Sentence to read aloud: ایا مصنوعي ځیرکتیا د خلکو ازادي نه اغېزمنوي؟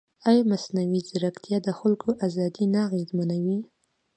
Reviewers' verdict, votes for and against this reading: accepted, 2, 1